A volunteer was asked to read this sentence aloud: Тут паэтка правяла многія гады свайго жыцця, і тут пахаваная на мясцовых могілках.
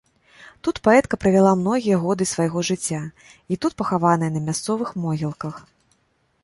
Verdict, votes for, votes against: rejected, 1, 2